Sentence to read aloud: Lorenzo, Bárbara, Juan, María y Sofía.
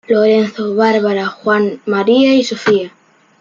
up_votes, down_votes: 2, 0